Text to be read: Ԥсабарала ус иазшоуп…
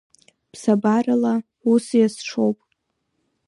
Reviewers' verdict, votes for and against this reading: accepted, 2, 0